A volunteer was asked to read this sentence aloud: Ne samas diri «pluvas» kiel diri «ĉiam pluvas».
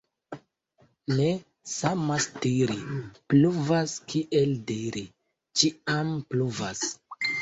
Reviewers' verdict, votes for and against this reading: rejected, 1, 2